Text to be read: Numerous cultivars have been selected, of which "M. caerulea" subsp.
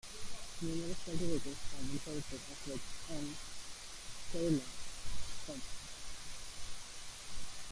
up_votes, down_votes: 0, 2